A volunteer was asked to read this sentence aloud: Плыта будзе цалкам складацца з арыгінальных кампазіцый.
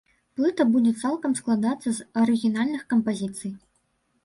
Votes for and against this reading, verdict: 2, 0, accepted